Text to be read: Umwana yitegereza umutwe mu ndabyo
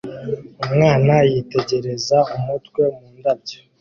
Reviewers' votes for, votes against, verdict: 2, 0, accepted